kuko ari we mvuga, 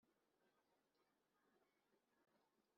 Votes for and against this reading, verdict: 0, 2, rejected